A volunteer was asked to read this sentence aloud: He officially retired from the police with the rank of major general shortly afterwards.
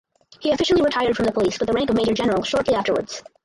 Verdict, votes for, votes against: accepted, 4, 2